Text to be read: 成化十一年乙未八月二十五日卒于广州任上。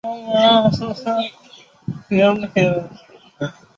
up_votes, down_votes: 0, 3